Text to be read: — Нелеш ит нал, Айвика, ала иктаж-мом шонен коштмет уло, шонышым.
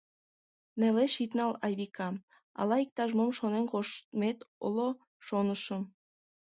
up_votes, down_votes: 1, 2